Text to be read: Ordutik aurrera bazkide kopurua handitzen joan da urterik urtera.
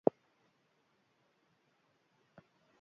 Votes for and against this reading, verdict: 0, 2, rejected